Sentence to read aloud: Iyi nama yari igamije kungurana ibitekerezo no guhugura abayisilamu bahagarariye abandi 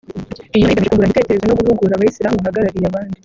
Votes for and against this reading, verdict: 0, 2, rejected